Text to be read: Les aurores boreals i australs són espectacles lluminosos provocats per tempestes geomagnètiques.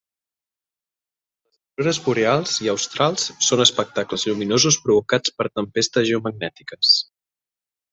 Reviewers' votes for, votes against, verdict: 0, 2, rejected